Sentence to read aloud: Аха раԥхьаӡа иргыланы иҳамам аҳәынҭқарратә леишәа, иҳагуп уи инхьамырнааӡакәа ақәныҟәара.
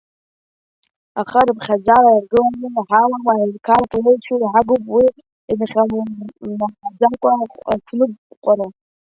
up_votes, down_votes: 0, 2